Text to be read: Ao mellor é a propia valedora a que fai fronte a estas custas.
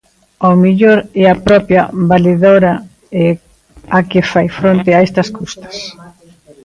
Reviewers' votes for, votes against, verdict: 0, 2, rejected